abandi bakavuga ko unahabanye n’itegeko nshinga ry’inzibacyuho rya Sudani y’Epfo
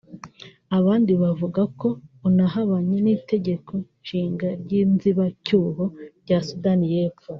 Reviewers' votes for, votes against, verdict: 1, 2, rejected